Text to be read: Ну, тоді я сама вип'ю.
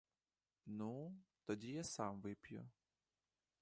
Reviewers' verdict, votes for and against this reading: rejected, 1, 2